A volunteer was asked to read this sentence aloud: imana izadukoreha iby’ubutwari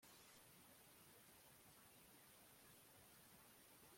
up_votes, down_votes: 0, 2